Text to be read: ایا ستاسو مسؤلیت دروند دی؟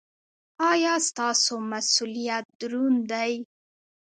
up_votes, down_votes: 2, 0